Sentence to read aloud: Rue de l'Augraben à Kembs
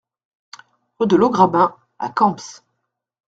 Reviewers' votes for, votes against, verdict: 2, 1, accepted